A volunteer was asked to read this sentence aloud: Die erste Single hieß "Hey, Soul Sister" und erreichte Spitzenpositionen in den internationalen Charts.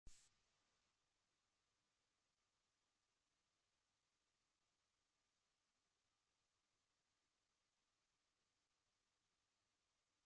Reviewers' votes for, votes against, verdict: 0, 2, rejected